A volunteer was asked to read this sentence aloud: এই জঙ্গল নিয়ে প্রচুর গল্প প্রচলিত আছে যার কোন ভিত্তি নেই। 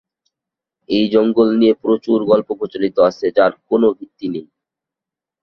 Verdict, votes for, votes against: rejected, 0, 2